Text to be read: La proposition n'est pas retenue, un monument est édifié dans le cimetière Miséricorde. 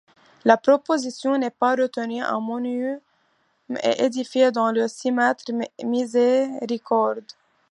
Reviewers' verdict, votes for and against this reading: accepted, 2, 1